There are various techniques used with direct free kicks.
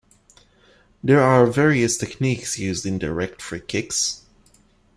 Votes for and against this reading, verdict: 0, 2, rejected